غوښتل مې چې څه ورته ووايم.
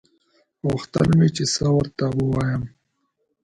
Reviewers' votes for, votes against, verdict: 2, 0, accepted